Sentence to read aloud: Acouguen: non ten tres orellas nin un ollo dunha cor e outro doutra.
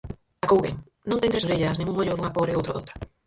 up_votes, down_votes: 0, 4